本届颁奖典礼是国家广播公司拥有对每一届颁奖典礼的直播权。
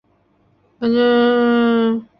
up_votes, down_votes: 1, 2